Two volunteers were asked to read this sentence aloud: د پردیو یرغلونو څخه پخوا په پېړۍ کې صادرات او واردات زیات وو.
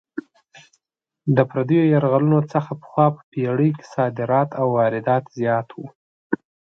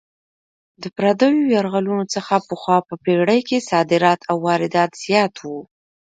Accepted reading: first